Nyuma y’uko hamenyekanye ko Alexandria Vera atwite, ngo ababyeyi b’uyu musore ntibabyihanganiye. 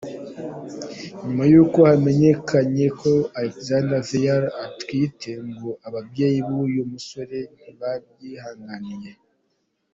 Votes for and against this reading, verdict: 2, 0, accepted